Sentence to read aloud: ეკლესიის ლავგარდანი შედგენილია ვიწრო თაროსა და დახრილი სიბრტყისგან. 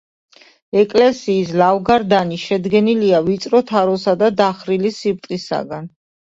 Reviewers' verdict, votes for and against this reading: rejected, 0, 2